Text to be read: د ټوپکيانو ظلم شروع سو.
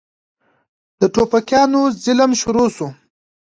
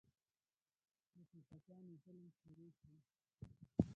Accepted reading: first